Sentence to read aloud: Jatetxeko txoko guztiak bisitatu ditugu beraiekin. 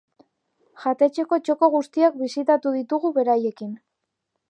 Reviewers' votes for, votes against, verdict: 2, 0, accepted